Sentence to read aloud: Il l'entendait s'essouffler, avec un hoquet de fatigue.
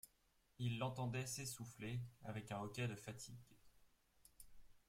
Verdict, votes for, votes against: rejected, 1, 2